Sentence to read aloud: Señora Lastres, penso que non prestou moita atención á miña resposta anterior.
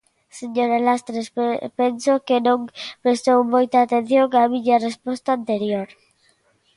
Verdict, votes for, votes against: rejected, 0, 2